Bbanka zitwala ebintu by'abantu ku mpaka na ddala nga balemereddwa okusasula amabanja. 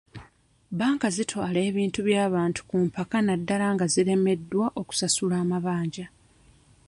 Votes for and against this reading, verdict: 0, 2, rejected